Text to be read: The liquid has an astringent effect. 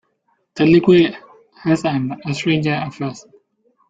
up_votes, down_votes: 0, 2